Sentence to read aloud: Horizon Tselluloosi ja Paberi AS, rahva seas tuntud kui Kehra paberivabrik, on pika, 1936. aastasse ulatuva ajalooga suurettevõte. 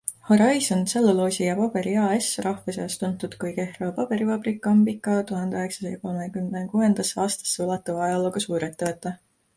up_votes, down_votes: 0, 2